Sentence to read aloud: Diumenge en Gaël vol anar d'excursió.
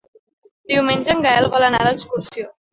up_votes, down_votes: 3, 1